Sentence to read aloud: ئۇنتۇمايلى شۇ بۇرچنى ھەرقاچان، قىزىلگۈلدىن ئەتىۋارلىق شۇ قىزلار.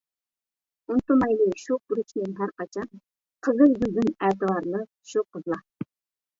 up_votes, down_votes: 1, 2